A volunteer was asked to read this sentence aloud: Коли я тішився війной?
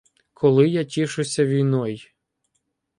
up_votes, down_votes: 0, 2